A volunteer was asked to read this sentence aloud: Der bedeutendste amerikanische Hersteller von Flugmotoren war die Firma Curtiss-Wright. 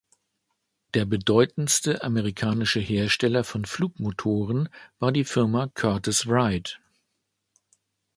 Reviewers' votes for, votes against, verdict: 2, 0, accepted